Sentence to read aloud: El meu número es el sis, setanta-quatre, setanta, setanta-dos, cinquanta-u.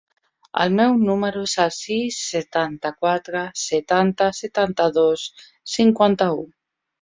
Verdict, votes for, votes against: accepted, 4, 1